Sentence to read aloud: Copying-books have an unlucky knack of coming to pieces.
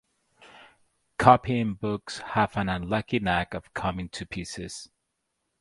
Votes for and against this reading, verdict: 6, 0, accepted